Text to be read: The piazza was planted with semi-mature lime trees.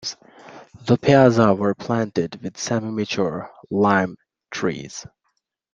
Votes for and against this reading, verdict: 1, 2, rejected